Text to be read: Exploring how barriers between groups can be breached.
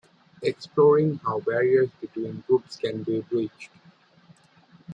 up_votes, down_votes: 2, 1